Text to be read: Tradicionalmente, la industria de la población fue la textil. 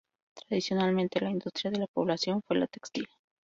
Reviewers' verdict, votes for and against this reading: accepted, 2, 0